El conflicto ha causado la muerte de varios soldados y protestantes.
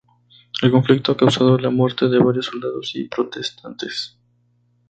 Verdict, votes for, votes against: rejected, 0, 2